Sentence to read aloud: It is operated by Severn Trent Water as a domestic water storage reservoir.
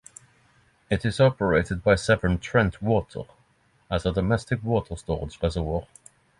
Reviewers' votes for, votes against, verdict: 6, 0, accepted